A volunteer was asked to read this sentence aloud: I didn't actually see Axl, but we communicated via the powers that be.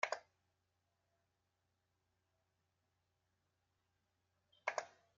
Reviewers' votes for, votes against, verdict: 0, 2, rejected